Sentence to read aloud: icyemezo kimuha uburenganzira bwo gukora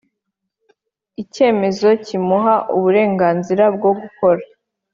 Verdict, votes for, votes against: accepted, 3, 0